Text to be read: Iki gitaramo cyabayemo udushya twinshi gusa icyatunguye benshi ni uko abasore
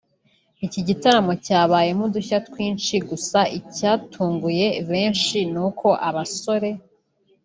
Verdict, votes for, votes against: rejected, 1, 2